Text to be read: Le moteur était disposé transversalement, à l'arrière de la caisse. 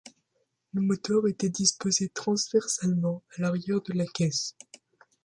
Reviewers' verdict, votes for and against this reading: accepted, 2, 0